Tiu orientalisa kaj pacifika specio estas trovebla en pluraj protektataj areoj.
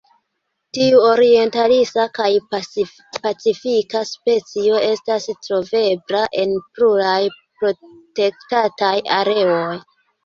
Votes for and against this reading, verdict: 0, 2, rejected